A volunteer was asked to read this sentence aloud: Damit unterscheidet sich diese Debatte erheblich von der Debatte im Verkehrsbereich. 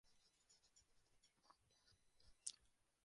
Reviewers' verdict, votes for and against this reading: rejected, 0, 2